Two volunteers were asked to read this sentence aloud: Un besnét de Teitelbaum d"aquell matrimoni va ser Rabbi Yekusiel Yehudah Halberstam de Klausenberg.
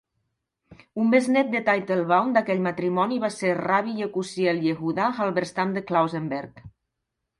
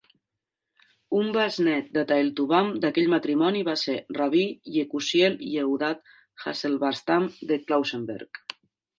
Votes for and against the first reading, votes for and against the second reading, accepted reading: 2, 0, 0, 2, first